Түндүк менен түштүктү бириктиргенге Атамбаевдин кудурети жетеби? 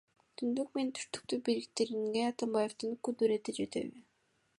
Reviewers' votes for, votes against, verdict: 1, 2, rejected